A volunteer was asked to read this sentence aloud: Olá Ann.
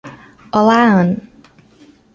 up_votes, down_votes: 2, 0